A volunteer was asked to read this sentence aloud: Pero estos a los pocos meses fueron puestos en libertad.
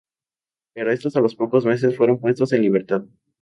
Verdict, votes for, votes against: accepted, 2, 0